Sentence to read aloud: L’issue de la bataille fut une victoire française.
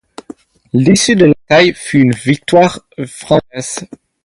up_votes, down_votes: 0, 4